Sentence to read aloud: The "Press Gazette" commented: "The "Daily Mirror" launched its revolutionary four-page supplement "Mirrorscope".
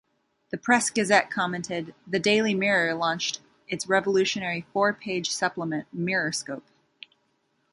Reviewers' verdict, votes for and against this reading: rejected, 1, 2